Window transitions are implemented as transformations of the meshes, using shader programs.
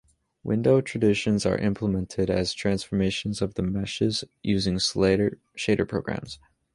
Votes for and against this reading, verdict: 1, 2, rejected